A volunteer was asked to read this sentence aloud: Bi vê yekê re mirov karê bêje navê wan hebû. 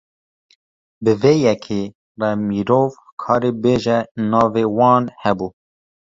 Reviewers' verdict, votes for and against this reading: rejected, 1, 2